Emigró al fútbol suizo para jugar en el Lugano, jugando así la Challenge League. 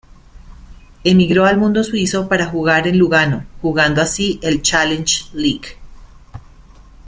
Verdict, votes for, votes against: rejected, 0, 2